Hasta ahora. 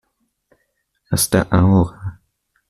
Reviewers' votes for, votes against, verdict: 2, 0, accepted